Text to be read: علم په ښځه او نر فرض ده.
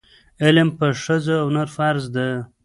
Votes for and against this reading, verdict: 2, 0, accepted